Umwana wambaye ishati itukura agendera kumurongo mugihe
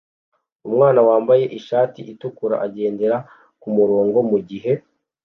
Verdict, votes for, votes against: accepted, 2, 0